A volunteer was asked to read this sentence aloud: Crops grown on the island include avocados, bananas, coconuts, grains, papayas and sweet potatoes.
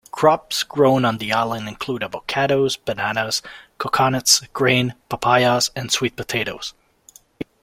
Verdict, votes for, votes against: accepted, 2, 1